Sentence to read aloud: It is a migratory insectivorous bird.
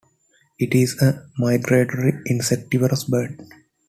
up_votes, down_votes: 2, 0